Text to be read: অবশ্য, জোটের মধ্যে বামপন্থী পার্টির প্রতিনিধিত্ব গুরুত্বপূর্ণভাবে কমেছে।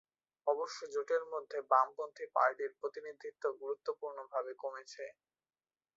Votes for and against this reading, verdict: 2, 1, accepted